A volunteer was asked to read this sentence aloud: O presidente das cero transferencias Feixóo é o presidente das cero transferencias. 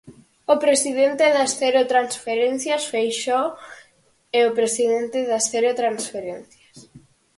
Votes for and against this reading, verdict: 4, 0, accepted